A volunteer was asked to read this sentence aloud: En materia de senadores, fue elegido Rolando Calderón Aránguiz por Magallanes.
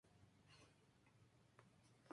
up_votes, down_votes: 0, 2